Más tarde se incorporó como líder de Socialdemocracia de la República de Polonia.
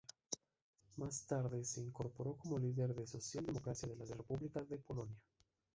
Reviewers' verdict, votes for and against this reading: rejected, 0, 2